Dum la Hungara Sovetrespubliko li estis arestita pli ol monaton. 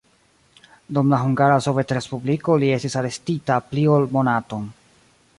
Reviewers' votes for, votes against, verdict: 1, 2, rejected